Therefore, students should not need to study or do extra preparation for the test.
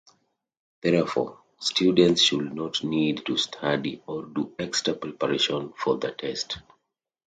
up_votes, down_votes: 2, 0